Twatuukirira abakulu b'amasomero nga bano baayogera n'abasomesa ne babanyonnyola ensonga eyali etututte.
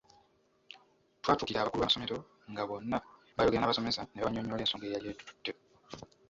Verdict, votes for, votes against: rejected, 1, 2